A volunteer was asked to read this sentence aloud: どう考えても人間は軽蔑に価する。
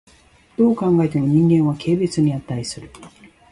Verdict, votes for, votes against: accepted, 2, 0